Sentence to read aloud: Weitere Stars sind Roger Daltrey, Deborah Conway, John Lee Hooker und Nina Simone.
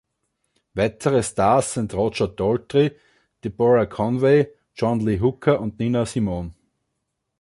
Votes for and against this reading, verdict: 2, 0, accepted